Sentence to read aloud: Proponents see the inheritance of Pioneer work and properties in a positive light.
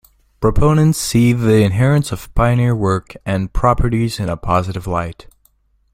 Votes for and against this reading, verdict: 2, 0, accepted